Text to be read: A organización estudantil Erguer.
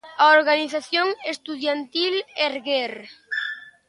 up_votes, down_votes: 0, 2